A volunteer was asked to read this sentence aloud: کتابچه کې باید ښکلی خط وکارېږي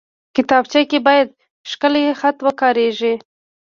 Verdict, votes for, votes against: rejected, 1, 2